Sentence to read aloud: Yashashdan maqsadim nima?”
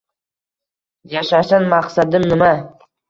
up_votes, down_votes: 2, 0